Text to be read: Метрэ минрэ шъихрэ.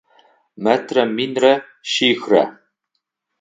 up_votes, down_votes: 6, 0